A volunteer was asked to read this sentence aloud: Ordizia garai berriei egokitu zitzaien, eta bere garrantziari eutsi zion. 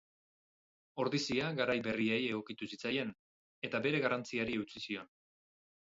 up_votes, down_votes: 6, 2